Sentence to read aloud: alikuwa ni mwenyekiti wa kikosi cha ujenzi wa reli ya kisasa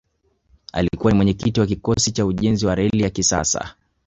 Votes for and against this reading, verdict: 4, 0, accepted